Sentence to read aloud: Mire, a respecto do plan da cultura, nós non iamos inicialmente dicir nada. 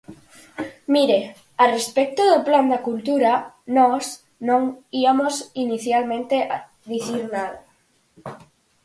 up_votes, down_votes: 4, 2